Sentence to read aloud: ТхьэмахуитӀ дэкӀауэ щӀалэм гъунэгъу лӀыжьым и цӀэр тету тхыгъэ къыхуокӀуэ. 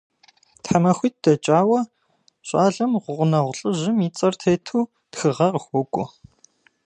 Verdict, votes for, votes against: accepted, 2, 0